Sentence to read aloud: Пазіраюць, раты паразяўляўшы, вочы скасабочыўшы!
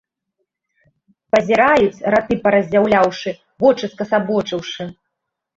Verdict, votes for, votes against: accepted, 2, 0